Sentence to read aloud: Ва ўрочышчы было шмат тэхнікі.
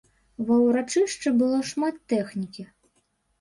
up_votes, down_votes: 0, 2